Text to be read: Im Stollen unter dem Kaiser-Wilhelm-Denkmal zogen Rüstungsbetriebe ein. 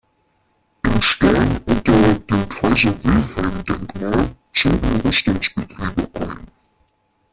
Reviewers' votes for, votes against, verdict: 1, 2, rejected